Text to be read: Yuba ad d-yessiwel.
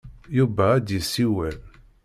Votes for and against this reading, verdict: 1, 2, rejected